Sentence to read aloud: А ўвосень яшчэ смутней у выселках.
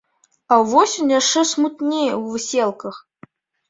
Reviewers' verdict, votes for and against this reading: rejected, 0, 2